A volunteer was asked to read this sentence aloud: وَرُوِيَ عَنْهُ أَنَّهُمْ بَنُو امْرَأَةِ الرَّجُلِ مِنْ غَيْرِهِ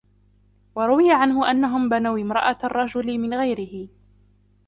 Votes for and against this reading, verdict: 1, 2, rejected